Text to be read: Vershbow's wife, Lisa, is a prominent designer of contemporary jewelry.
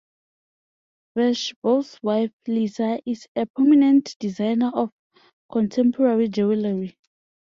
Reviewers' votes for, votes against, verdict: 2, 0, accepted